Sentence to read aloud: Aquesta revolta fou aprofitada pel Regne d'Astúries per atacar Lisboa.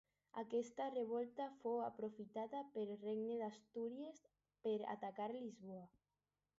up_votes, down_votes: 2, 2